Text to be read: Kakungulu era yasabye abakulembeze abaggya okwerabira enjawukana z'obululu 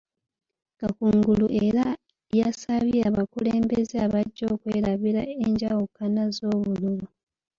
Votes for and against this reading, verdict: 0, 2, rejected